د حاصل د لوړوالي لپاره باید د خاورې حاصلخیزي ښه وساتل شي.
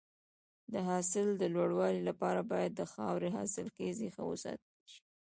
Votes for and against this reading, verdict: 1, 2, rejected